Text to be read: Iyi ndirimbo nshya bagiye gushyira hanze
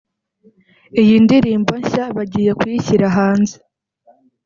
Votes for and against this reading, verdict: 1, 2, rejected